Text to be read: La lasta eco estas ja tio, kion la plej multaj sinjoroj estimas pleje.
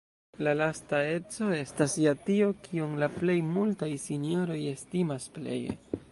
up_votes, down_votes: 3, 0